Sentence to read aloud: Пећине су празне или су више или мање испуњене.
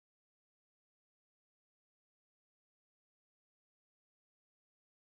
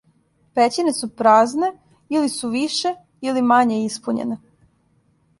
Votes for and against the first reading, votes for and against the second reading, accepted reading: 0, 2, 2, 0, second